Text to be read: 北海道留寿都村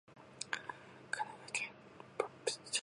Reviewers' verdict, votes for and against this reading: rejected, 0, 7